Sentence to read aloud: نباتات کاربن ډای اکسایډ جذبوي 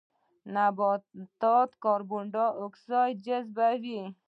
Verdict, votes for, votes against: accepted, 2, 0